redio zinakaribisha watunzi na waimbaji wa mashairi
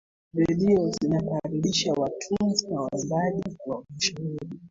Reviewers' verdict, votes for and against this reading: rejected, 1, 2